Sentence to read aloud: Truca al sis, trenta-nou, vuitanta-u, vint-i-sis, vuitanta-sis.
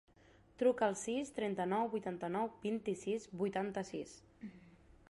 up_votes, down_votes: 0, 2